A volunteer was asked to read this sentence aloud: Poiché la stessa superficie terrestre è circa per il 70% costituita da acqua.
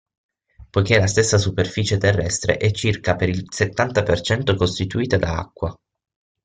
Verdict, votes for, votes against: rejected, 0, 2